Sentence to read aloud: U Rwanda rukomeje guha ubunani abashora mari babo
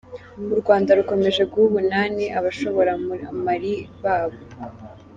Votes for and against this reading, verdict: 1, 2, rejected